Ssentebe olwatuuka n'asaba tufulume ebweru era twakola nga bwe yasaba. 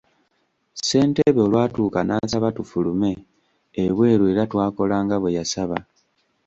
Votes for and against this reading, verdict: 2, 0, accepted